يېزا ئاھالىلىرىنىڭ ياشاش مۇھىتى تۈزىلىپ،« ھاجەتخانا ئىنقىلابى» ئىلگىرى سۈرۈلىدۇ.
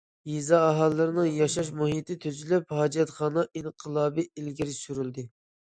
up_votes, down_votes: 0, 2